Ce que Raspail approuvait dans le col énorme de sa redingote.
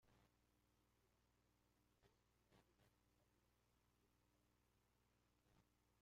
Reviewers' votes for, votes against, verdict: 0, 2, rejected